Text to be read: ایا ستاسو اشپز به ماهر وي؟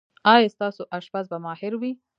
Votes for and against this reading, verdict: 1, 2, rejected